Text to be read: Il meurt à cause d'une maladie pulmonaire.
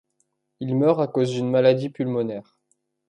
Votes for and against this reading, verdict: 3, 1, accepted